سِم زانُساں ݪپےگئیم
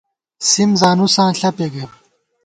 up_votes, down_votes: 2, 0